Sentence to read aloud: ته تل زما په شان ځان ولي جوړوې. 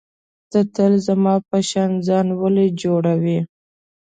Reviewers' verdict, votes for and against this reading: accepted, 2, 0